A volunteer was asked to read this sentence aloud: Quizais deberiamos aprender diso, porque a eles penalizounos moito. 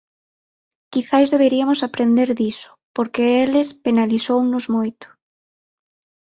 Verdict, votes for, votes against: rejected, 0, 6